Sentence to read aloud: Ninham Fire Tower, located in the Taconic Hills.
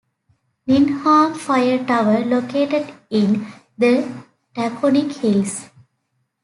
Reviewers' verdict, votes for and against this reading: rejected, 1, 2